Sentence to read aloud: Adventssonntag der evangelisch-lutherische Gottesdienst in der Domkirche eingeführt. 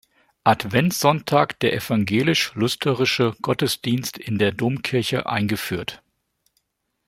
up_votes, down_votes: 0, 2